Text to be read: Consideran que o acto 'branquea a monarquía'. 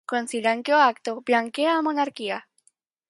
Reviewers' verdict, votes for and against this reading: rejected, 0, 4